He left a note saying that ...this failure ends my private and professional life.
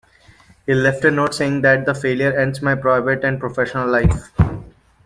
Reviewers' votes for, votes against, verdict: 0, 2, rejected